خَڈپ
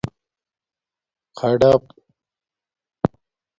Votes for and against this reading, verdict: 2, 0, accepted